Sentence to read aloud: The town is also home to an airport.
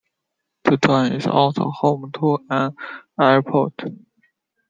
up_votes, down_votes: 2, 0